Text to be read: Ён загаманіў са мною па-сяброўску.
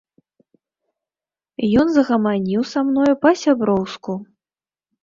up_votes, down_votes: 2, 1